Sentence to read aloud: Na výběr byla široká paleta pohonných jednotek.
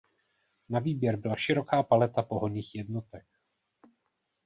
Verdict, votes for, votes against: accepted, 2, 0